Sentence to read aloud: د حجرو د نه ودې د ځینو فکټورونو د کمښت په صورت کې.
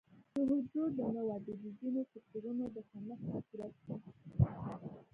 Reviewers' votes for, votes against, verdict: 0, 2, rejected